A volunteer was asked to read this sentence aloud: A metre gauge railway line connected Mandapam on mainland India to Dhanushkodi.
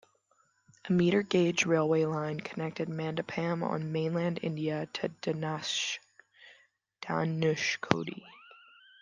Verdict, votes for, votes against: rejected, 1, 2